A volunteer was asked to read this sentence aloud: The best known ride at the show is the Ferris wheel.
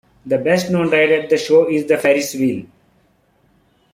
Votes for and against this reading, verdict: 2, 1, accepted